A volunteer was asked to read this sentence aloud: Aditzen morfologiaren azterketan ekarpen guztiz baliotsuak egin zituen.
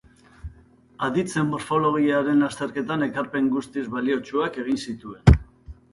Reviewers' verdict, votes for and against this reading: accepted, 2, 0